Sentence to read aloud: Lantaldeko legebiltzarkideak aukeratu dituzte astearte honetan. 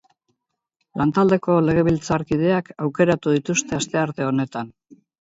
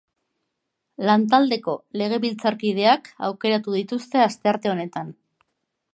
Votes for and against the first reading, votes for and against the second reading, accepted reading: 2, 2, 2, 0, second